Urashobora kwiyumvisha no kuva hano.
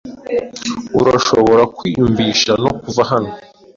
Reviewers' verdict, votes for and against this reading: accepted, 2, 0